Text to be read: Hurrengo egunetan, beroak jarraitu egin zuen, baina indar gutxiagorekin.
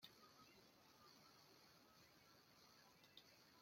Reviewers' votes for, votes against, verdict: 0, 2, rejected